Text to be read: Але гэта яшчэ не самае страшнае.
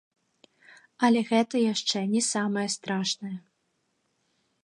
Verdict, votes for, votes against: rejected, 0, 3